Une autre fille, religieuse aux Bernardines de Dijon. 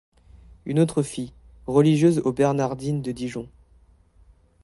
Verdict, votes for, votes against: accepted, 2, 0